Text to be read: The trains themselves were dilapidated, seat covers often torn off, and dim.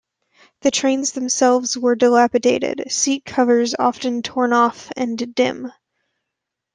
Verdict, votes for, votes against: accepted, 2, 0